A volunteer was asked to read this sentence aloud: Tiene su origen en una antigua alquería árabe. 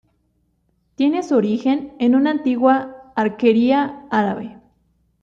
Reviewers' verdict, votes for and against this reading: rejected, 0, 2